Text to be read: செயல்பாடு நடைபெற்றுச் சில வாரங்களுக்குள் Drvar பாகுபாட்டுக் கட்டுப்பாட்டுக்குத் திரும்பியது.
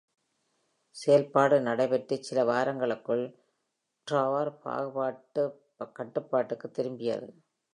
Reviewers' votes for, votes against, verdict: 1, 2, rejected